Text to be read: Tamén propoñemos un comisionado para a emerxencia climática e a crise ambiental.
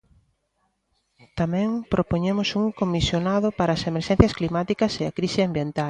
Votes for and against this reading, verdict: 0, 2, rejected